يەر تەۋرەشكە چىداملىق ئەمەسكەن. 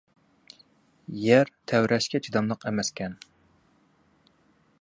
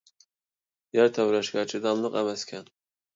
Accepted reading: first